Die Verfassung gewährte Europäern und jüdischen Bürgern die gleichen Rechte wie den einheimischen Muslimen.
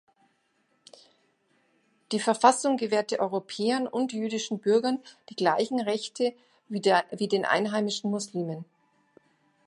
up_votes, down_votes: 0, 2